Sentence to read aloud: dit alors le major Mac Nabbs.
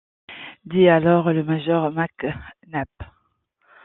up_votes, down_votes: 2, 0